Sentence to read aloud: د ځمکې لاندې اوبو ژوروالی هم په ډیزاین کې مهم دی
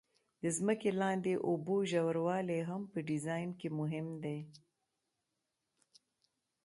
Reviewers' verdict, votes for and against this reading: accepted, 2, 0